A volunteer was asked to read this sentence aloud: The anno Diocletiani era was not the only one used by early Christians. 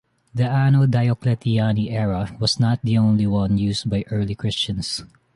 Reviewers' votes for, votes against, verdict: 2, 0, accepted